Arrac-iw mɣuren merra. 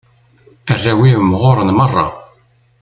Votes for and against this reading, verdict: 0, 2, rejected